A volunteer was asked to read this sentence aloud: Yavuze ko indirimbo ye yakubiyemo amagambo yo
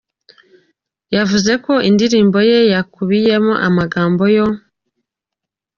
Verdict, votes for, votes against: accepted, 2, 0